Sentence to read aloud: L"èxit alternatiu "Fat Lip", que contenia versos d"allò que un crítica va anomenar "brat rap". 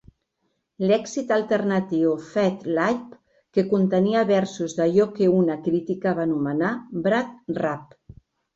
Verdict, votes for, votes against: rejected, 0, 3